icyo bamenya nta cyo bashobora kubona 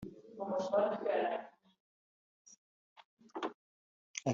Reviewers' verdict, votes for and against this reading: rejected, 0, 2